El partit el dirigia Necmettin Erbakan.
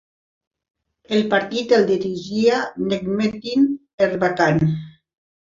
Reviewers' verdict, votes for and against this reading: accepted, 2, 0